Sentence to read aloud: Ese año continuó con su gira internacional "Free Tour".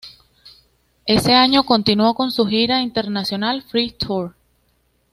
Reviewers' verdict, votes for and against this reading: rejected, 1, 2